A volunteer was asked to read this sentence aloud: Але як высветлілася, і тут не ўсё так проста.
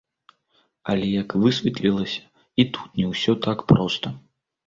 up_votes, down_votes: 2, 0